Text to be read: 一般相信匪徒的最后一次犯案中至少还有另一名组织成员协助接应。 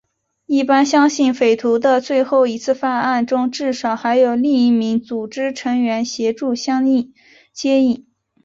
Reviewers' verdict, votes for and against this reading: rejected, 2, 2